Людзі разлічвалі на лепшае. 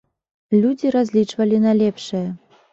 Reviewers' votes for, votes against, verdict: 2, 0, accepted